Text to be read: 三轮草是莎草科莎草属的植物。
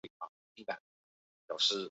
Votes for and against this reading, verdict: 0, 2, rejected